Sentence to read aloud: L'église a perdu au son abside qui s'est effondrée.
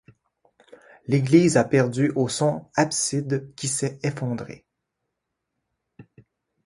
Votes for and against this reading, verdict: 1, 2, rejected